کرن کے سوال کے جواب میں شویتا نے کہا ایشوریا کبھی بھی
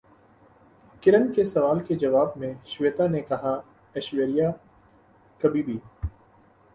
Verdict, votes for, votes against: accepted, 2, 0